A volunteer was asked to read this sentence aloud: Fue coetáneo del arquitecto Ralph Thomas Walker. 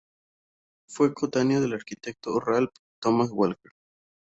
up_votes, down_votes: 0, 2